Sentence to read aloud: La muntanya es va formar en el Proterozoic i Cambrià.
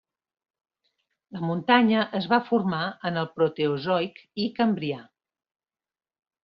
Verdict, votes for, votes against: rejected, 1, 2